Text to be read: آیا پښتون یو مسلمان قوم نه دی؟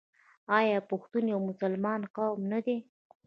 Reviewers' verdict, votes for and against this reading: accepted, 2, 0